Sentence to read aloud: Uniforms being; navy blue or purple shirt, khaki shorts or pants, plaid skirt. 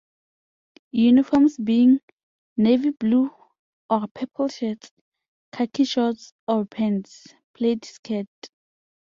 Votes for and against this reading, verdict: 2, 0, accepted